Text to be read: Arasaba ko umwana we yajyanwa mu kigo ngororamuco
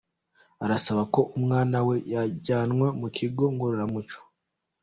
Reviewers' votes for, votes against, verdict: 2, 0, accepted